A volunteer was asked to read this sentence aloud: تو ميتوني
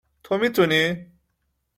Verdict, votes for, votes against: accepted, 2, 1